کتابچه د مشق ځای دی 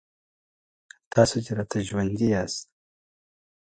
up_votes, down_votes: 2, 0